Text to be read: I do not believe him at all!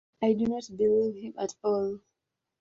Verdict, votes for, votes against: accepted, 2, 0